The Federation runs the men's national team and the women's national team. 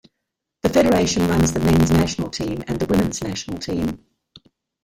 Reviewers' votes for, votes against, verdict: 1, 2, rejected